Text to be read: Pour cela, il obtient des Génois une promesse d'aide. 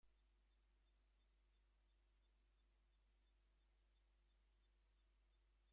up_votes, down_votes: 0, 2